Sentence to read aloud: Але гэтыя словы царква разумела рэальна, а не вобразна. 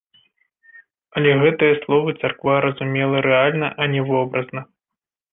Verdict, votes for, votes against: accepted, 2, 0